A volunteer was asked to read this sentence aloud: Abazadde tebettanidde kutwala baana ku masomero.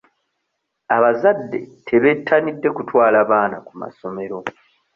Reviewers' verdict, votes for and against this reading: accepted, 3, 0